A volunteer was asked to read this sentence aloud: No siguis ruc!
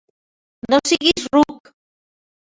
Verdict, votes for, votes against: rejected, 0, 2